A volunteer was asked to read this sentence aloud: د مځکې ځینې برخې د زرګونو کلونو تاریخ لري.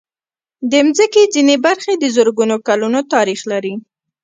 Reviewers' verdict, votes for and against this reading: rejected, 0, 2